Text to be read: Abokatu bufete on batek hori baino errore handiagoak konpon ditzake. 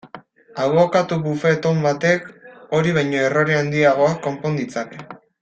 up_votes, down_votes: 0, 2